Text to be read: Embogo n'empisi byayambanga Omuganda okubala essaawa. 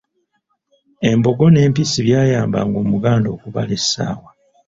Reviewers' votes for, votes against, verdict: 2, 0, accepted